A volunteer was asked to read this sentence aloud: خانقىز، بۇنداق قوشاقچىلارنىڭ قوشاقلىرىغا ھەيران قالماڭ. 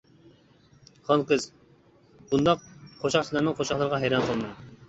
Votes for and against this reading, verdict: 1, 2, rejected